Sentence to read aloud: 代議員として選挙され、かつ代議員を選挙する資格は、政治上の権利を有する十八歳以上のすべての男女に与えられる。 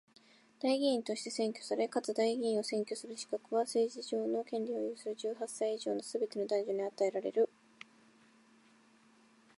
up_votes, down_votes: 2, 0